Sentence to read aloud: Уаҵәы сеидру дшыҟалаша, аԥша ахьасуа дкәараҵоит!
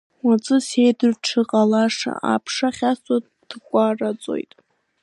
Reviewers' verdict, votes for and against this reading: accepted, 2, 0